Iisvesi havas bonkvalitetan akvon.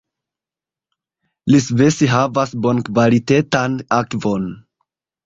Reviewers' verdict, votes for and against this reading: rejected, 1, 2